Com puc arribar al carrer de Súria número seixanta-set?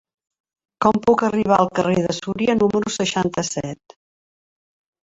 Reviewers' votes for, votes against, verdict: 3, 0, accepted